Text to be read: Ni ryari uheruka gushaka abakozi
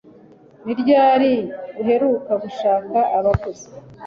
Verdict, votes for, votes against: accepted, 2, 0